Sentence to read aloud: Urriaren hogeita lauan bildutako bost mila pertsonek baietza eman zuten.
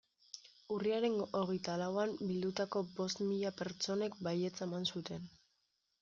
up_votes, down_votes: 2, 0